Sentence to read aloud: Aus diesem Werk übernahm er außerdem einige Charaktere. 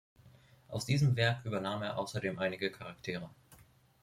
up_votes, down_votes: 2, 0